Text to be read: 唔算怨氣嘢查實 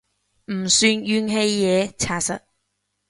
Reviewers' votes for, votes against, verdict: 2, 0, accepted